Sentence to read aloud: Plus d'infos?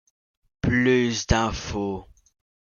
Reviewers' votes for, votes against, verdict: 2, 0, accepted